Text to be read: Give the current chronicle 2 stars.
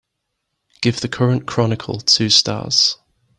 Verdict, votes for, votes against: rejected, 0, 2